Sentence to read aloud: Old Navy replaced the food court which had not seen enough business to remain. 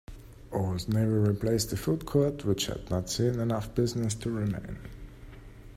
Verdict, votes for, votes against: accepted, 2, 1